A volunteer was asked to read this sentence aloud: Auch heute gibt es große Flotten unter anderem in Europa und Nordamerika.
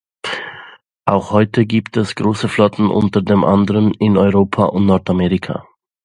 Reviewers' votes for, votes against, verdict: 0, 2, rejected